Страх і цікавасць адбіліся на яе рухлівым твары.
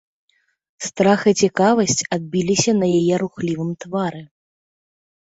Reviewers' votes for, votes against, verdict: 2, 0, accepted